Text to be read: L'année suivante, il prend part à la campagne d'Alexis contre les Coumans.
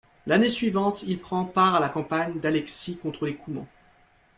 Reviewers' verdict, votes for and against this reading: accepted, 3, 0